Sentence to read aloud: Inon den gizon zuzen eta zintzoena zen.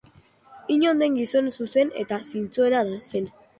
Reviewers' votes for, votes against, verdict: 2, 0, accepted